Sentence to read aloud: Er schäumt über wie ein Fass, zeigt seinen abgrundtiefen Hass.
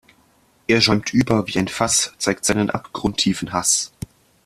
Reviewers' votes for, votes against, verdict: 2, 0, accepted